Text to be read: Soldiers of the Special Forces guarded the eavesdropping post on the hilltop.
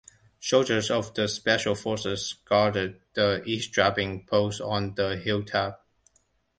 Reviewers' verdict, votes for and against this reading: accepted, 2, 0